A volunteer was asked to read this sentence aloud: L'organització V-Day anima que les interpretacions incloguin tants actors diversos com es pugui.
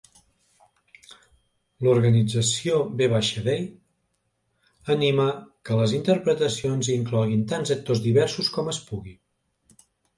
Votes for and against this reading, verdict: 1, 2, rejected